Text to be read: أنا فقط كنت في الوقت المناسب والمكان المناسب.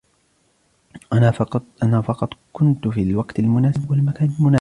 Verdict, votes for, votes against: rejected, 0, 2